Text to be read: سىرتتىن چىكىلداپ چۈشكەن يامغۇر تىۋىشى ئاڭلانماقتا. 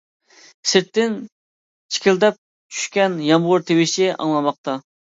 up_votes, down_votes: 2, 1